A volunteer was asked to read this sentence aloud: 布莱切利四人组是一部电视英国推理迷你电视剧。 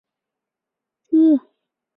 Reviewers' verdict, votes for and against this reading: rejected, 0, 2